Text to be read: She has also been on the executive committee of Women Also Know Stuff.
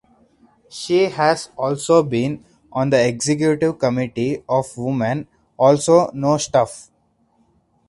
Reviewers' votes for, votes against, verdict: 4, 2, accepted